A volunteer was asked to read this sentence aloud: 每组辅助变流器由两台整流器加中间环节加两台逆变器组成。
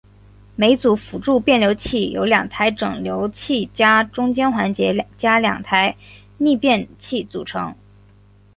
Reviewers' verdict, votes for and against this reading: accepted, 4, 0